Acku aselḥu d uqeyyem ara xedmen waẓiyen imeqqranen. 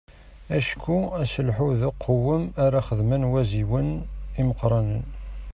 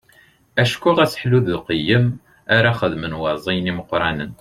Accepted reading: second